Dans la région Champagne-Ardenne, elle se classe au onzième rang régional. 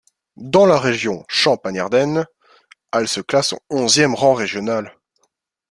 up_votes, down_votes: 0, 2